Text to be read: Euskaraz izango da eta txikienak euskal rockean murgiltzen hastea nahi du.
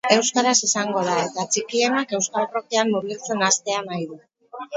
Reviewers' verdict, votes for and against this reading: rejected, 0, 4